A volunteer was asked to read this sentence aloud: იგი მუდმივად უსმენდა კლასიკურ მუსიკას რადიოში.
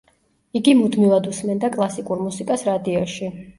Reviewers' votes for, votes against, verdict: 2, 0, accepted